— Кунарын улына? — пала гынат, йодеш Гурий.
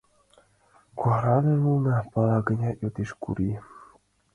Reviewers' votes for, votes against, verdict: 2, 1, accepted